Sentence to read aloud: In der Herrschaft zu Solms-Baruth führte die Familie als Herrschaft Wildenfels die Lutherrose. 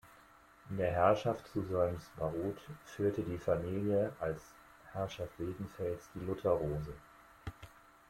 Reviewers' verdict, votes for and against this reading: accepted, 2, 1